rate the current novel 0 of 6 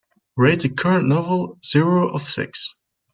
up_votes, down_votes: 0, 2